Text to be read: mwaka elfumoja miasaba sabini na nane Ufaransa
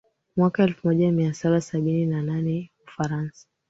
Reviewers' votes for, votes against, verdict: 2, 0, accepted